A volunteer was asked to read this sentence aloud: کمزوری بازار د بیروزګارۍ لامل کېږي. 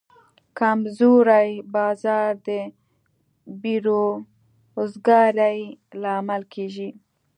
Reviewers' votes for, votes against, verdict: 2, 0, accepted